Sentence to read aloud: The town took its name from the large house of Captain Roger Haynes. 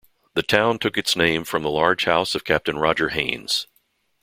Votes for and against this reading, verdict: 2, 0, accepted